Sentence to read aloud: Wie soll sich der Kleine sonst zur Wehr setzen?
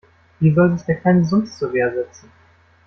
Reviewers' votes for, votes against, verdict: 0, 2, rejected